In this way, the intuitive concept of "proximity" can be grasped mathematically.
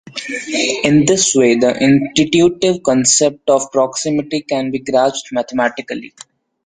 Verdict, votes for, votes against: rejected, 1, 2